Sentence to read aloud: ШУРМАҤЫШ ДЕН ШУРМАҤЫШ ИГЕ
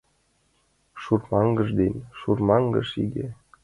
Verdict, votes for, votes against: accepted, 2, 1